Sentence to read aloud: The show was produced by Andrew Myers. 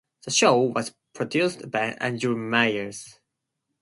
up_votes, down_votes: 0, 2